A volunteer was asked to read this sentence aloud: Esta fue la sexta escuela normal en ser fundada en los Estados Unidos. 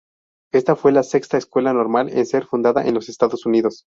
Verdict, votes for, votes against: rejected, 0, 2